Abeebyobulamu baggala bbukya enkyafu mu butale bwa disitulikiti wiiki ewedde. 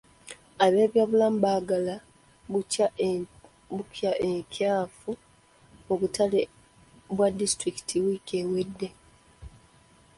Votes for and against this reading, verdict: 0, 2, rejected